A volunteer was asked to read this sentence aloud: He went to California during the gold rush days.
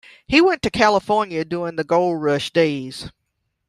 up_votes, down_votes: 2, 0